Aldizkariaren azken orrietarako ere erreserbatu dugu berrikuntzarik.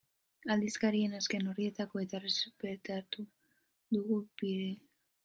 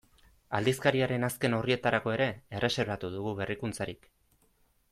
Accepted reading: second